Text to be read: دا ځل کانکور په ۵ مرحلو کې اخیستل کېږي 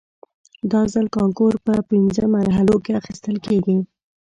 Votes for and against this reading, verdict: 0, 2, rejected